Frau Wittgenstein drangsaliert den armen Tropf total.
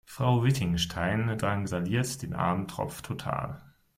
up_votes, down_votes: 0, 2